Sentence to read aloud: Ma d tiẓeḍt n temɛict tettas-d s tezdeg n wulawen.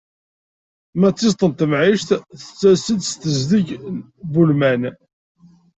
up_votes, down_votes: 0, 2